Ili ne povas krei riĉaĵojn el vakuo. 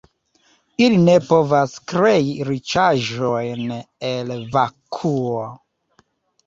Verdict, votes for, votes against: accepted, 2, 1